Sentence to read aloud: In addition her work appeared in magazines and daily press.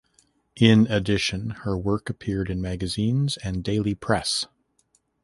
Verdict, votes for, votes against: accepted, 2, 0